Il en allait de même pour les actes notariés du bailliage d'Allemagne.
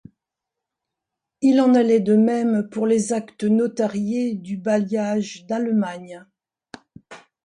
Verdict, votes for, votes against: accepted, 2, 0